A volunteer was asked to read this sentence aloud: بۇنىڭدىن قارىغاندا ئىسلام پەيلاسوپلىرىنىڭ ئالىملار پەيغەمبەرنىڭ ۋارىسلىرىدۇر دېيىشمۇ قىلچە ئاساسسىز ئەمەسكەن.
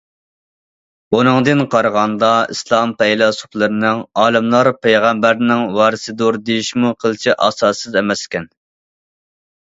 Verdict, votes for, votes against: rejected, 1, 2